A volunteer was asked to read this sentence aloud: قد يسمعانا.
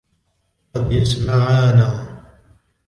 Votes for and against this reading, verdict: 1, 2, rejected